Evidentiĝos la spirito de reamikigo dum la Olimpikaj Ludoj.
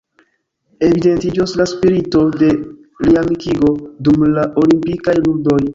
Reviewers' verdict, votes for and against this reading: rejected, 0, 2